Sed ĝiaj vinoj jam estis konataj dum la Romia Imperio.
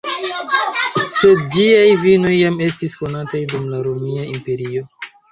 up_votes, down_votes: 0, 2